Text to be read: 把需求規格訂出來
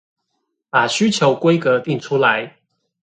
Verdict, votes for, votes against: accepted, 2, 0